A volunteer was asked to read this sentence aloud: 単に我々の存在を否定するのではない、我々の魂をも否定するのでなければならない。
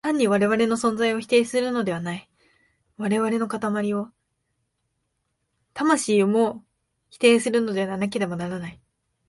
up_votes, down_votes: 0, 2